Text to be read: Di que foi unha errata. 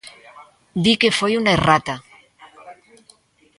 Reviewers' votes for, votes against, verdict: 1, 2, rejected